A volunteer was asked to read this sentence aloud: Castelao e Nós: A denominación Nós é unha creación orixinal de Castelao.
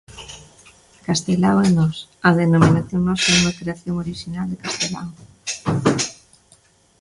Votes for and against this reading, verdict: 2, 0, accepted